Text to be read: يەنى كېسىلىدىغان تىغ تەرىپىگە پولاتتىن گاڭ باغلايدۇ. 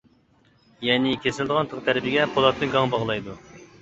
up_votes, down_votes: 0, 2